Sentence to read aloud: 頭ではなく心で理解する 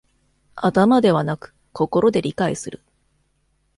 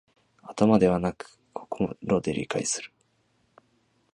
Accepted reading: first